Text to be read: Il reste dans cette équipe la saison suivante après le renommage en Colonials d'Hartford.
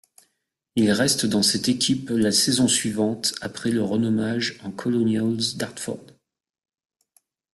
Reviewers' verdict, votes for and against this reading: accepted, 2, 0